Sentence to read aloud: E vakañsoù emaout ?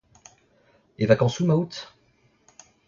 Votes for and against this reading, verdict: 1, 2, rejected